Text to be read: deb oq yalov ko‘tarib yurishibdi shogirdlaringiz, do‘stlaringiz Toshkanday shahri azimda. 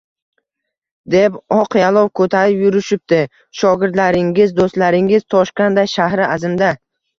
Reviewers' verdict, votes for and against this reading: rejected, 0, 2